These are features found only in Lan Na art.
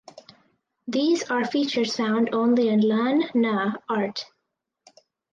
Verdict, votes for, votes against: accepted, 4, 0